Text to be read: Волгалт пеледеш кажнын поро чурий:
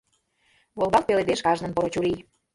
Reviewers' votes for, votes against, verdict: 2, 0, accepted